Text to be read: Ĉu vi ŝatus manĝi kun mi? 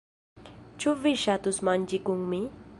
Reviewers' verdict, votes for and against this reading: accepted, 2, 0